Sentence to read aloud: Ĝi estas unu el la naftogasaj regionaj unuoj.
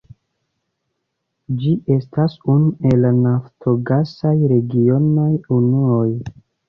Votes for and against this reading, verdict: 2, 1, accepted